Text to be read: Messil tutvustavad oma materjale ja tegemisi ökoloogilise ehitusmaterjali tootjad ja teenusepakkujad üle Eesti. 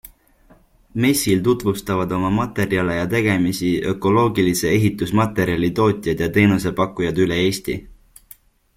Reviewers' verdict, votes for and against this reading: accepted, 2, 0